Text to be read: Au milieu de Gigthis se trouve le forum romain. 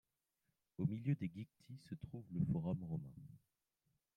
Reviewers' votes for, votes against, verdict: 2, 0, accepted